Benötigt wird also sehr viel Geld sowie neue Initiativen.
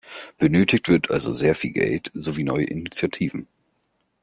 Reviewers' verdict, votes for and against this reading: accepted, 2, 0